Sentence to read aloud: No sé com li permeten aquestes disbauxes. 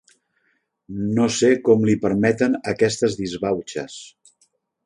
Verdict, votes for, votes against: accepted, 3, 0